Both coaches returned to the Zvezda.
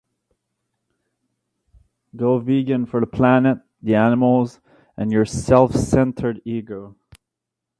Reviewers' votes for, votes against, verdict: 0, 2, rejected